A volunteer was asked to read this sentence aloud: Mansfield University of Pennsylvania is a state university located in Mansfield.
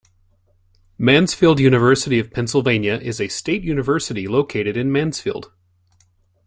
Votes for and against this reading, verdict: 2, 0, accepted